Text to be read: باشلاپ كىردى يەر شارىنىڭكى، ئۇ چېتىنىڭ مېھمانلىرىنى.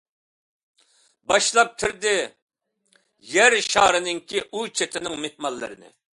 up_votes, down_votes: 2, 0